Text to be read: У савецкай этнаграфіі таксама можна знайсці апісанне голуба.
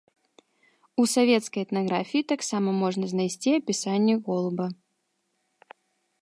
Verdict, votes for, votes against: accepted, 3, 1